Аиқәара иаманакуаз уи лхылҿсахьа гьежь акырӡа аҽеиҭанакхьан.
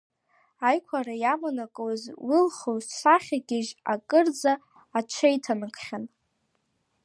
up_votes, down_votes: 1, 2